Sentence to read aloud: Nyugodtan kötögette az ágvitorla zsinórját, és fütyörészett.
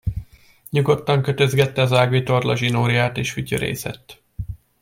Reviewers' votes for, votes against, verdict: 0, 2, rejected